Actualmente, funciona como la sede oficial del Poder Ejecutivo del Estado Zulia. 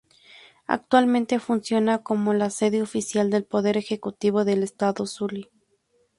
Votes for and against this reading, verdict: 0, 2, rejected